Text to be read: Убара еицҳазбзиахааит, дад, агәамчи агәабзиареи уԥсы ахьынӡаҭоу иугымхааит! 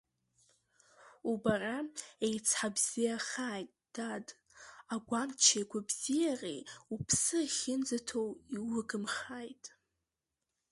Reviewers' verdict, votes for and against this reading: rejected, 1, 3